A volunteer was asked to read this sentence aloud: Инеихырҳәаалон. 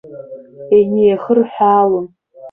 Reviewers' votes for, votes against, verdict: 0, 2, rejected